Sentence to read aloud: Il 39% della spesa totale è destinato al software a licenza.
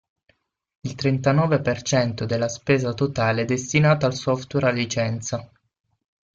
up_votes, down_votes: 0, 2